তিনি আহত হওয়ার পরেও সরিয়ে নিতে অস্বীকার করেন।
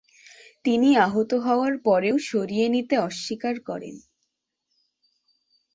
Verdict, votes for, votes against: accepted, 2, 1